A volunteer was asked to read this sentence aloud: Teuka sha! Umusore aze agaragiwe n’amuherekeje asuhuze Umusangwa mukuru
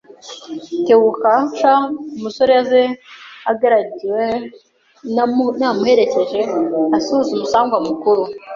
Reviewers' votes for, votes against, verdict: 0, 2, rejected